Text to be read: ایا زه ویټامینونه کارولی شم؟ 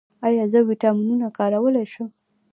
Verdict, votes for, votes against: rejected, 0, 2